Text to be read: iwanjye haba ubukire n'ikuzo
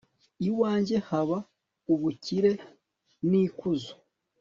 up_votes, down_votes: 2, 0